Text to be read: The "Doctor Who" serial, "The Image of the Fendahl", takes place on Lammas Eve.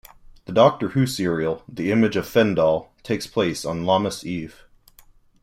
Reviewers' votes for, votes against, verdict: 0, 2, rejected